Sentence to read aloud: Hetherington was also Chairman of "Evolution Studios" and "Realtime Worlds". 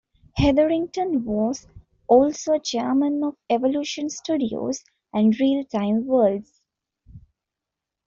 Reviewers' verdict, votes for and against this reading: accepted, 2, 0